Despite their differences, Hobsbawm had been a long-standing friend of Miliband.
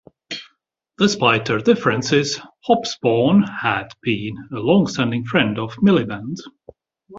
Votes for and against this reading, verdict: 2, 0, accepted